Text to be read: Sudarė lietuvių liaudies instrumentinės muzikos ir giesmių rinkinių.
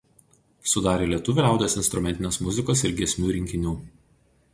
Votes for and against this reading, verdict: 2, 2, rejected